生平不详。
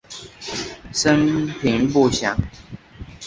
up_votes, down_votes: 5, 0